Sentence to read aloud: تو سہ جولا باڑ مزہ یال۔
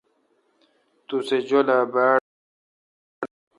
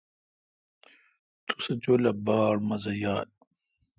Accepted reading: second